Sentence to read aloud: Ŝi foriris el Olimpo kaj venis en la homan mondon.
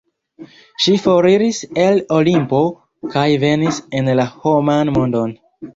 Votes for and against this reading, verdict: 1, 2, rejected